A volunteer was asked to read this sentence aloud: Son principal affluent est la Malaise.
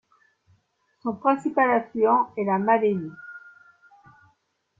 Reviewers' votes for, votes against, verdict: 2, 0, accepted